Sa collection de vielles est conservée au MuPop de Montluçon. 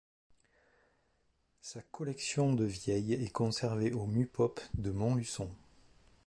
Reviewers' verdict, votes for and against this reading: rejected, 0, 4